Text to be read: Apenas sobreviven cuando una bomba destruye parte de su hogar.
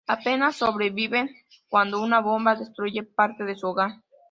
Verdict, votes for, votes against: accepted, 2, 0